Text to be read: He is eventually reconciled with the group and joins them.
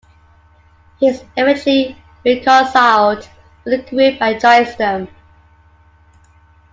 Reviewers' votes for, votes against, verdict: 1, 2, rejected